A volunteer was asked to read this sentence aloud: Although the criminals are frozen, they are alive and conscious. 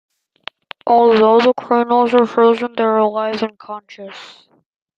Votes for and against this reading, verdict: 1, 2, rejected